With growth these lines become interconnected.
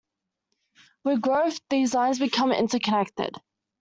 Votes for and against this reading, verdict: 2, 0, accepted